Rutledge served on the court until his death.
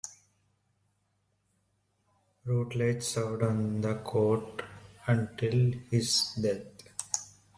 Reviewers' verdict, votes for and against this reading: accepted, 2, 0